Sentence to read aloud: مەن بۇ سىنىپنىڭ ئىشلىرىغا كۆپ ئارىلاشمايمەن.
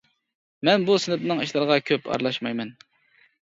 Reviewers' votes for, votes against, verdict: 2, 0, accepted